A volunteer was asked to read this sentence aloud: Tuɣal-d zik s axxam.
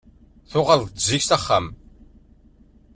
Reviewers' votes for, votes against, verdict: 1, 2, rejected